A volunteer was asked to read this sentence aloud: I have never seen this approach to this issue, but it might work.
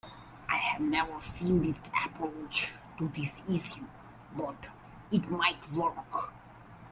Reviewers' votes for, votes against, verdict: 2, 1, accepted